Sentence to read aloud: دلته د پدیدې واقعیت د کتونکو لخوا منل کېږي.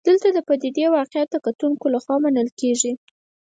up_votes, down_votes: 4, 0